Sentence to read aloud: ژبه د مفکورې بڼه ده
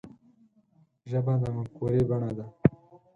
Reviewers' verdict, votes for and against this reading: rejected, 2, 4